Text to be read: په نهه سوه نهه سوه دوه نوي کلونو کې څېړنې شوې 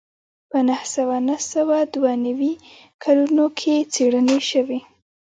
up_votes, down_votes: 1, 2